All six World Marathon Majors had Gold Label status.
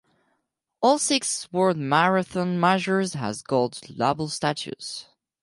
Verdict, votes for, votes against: rejected, 0, 4